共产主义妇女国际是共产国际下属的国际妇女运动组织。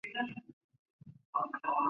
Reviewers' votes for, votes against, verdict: 2, 4, rejected